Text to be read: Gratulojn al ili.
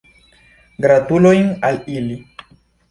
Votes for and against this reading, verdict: 2, 0, accepted